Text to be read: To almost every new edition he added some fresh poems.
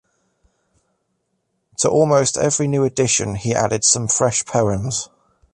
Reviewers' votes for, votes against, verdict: 2, 0, accepted